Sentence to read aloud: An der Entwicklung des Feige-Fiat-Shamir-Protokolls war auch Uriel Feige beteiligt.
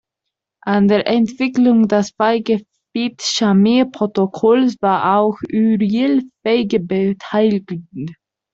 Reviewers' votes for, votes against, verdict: 0, 2, rejected